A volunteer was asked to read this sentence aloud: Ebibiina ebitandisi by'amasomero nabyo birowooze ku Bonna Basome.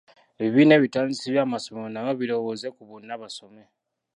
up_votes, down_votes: 0, 2